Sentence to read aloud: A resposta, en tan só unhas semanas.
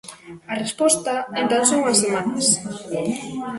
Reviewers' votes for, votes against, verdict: 2, 1, accepted